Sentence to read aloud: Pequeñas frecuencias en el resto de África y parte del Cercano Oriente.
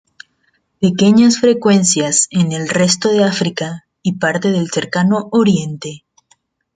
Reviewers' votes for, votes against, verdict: 2, 0, accepted